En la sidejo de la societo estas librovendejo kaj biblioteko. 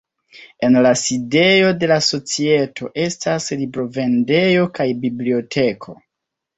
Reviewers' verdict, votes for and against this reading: accepted, 2, 0